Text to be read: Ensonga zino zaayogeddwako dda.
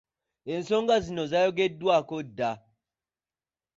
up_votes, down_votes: 2, 0